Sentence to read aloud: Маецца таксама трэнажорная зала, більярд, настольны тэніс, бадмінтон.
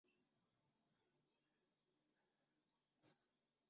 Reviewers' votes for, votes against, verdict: 0, 2, rejected